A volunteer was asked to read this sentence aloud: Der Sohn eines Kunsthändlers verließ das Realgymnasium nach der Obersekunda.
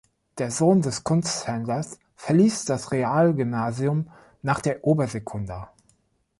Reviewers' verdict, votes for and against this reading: rejected, 0, 2